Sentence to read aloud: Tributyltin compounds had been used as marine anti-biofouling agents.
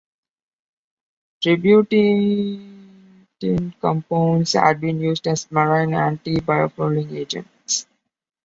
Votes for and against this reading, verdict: 1, 2, rejected